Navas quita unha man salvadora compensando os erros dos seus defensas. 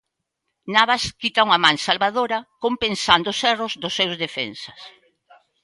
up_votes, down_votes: 1, 2